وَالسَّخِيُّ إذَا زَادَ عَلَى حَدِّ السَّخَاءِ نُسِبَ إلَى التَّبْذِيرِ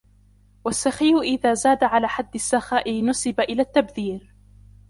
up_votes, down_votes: 1, 2